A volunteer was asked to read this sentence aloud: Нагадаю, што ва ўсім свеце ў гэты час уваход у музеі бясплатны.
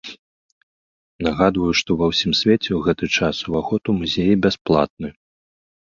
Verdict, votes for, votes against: rejected, 0, 2